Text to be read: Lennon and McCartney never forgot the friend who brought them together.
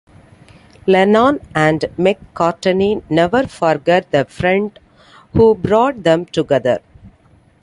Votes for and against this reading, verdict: 2, 0, accepted